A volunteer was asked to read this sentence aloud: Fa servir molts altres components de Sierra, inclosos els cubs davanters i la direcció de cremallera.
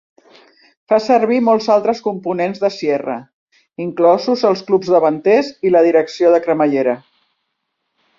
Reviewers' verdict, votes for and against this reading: rejected, 0, 2